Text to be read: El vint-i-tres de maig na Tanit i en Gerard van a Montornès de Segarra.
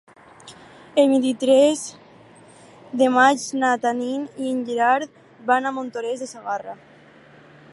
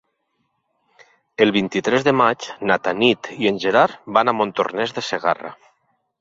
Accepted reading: second